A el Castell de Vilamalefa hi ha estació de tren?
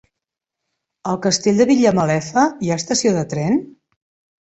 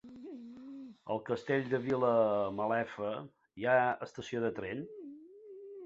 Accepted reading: second